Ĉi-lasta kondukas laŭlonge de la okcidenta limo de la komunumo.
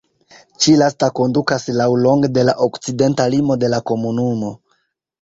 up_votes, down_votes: 2, 0